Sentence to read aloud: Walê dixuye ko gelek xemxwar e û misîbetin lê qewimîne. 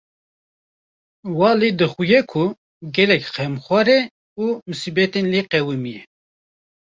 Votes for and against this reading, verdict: 1, 2, rejected